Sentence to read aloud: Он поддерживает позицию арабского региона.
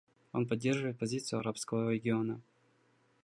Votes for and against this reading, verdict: 2, 0, accepted